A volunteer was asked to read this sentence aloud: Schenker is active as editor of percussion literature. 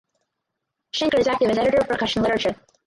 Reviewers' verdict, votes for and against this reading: rejected, 0, 4